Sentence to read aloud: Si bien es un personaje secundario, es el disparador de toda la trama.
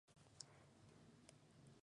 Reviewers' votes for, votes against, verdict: 0, 2, rejected